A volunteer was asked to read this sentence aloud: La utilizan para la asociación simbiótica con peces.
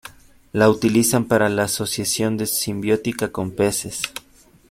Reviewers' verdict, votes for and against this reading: rejected, 0, 2